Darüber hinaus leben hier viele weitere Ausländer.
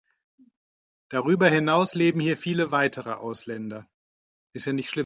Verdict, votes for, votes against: rejected, 0, 2